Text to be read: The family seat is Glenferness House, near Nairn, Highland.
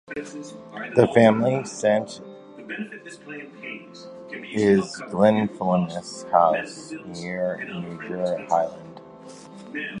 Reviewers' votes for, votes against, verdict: 1, 2, rejected